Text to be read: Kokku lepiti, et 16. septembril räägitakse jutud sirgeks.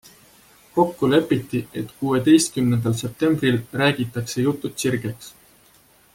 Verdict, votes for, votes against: rejected, 0, 2